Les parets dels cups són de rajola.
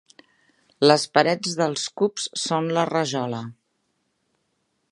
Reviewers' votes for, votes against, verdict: 0, 2, rejected